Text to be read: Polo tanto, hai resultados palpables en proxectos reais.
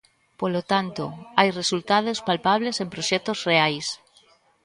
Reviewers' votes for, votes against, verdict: 1, 2, rejected